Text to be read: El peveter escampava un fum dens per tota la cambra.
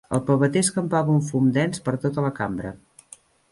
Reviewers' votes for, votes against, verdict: 2, 0, accepted